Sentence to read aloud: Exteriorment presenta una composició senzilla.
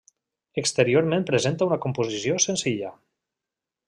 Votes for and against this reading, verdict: 1, 2, rejected